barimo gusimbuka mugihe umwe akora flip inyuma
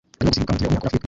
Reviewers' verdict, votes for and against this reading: rejected, 0, 2